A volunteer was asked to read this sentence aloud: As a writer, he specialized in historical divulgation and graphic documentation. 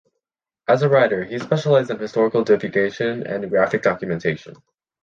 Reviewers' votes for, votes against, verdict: 2, 0, accepted